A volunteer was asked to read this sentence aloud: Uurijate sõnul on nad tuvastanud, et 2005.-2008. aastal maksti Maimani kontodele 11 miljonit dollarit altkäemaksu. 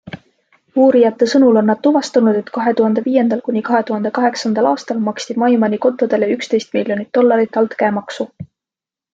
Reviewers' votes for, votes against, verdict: 0, 2, rejected